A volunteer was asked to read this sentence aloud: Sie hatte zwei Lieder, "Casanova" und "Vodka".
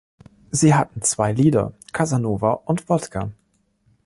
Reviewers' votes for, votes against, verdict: 1, 2, rejected